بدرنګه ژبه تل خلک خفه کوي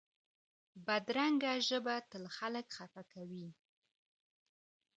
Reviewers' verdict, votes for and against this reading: accepted, 2, 0